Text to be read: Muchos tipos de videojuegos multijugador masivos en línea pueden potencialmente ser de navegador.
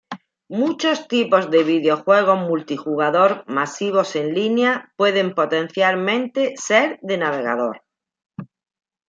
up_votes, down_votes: 2, 0